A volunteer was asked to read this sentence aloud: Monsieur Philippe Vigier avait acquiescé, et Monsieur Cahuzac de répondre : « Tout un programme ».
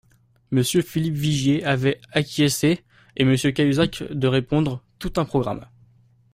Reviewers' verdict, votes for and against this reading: accepted, 2, 0